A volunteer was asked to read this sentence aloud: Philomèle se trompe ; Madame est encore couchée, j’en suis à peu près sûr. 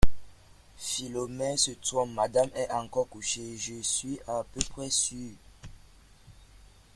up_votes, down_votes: 0, 2